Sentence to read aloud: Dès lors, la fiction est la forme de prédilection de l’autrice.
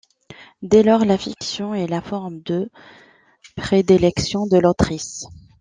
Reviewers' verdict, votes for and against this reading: rejected, 1, 2